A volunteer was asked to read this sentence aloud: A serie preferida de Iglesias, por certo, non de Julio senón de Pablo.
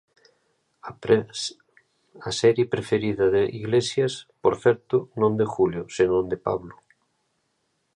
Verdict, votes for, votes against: rejected, 0, 2